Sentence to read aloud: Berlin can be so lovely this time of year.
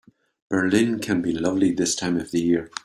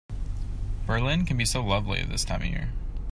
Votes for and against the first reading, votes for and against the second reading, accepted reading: 1, 2, 2, 0, second